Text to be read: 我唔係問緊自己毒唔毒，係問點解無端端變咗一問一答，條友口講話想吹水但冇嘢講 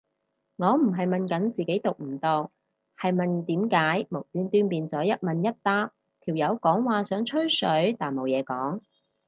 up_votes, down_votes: 0, 2